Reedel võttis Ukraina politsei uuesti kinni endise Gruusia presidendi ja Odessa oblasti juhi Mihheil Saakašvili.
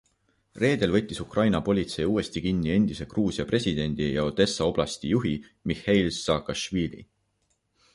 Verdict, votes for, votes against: accepted, 2, 0